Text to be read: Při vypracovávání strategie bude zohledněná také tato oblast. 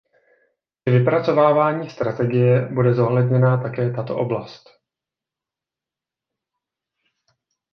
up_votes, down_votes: 1, 2